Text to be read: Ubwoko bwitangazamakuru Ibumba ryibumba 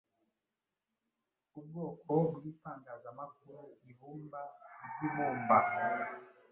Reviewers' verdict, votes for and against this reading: accepted, 2, 0